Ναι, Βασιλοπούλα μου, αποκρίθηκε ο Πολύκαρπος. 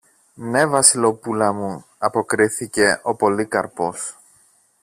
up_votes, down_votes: 0, 2